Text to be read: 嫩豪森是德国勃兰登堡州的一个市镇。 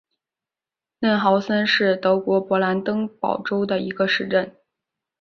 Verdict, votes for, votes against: accepted, 4, 0